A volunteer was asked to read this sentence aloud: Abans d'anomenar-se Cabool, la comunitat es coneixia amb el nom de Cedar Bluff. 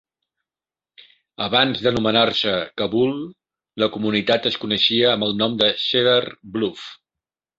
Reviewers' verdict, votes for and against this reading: accepted, 2, 1